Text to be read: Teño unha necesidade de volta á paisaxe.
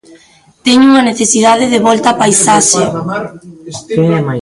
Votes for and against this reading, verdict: 0, 3, rejected